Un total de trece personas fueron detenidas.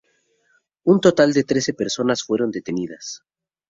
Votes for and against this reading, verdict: 0, 2, rejected